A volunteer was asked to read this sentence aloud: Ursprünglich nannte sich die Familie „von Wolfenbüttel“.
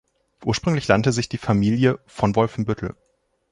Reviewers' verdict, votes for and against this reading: accepted, 2, 0